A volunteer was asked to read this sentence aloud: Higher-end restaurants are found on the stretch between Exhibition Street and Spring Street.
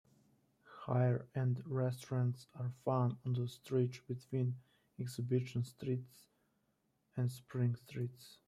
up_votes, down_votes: 1, 3